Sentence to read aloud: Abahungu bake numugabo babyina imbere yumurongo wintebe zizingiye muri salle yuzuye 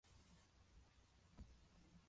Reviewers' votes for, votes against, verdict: 1, 2, rejected